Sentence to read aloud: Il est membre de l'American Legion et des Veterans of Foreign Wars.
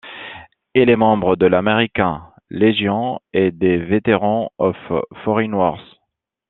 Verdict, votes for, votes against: rejected, 0, 2